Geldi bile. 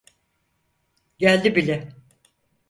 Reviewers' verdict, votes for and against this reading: accepted, 4, 0